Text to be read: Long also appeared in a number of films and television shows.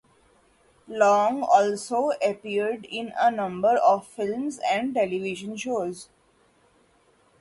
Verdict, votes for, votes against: rejected, 0, 2